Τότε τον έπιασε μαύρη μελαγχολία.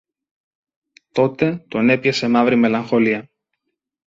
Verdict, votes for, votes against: accepted, 2, 0